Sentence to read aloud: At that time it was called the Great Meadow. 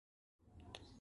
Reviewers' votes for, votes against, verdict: 0, 2, rejected